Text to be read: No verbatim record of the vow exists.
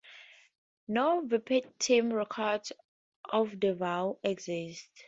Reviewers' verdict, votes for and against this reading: accepted, 2, 0